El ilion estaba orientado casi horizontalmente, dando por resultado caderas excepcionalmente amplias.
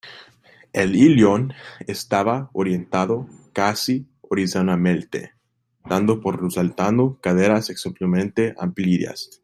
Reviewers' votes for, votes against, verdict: 0, 2, rejected